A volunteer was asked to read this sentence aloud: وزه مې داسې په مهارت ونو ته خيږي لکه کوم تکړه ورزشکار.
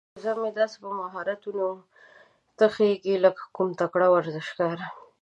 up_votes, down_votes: 0, 2